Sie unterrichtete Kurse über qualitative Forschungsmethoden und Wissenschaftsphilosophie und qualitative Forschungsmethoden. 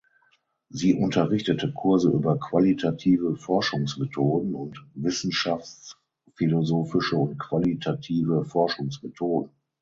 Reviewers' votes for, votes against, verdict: 0, 6, rejected